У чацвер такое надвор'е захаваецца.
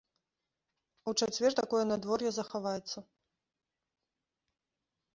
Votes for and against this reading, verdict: 0, 2, rejected